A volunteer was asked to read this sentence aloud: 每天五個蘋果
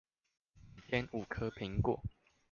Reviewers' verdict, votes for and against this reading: rejected, 1, 2